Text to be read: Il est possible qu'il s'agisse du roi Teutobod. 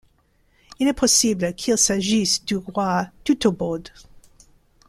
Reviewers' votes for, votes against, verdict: 2, 1, accepted